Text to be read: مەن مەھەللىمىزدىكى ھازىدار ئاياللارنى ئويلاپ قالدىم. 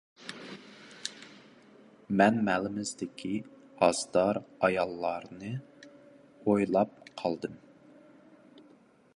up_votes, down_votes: 0, 2